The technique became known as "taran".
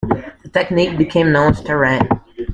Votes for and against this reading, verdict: 0, 2, rejected